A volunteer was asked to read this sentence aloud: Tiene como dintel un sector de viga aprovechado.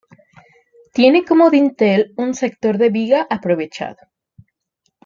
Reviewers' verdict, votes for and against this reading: rejected, 0, 2